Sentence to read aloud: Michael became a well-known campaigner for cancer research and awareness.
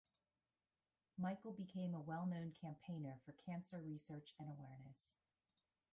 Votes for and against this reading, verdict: 2, 0, accepted